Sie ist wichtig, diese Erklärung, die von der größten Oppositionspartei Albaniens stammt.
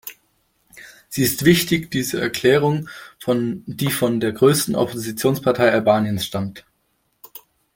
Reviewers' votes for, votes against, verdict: 0, 2, rejected